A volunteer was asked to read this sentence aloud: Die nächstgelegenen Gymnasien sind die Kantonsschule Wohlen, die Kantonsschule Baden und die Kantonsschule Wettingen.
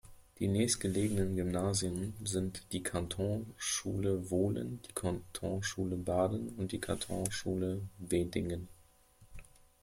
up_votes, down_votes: 1, 2